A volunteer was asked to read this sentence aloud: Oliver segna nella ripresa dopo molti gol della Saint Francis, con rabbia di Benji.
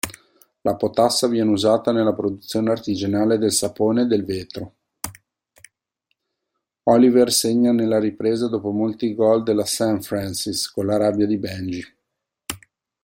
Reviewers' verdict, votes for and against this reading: rejected, 0, 2